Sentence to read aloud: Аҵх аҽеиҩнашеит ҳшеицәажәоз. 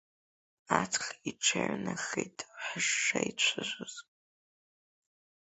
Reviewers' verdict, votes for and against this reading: rejected, 0, 2